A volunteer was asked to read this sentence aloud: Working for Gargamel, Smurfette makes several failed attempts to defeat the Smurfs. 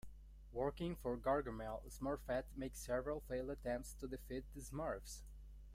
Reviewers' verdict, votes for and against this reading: rejected, 1, 2